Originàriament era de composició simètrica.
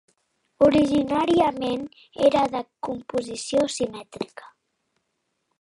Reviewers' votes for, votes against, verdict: 2, 1, accepted